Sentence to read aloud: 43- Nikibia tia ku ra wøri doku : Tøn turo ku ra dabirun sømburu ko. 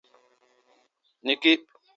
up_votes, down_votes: 0, 2